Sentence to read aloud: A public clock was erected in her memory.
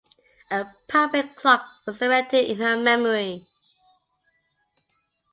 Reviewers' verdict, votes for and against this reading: accepted, 2, 0